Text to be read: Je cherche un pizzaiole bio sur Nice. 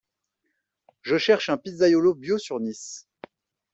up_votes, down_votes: 3, 2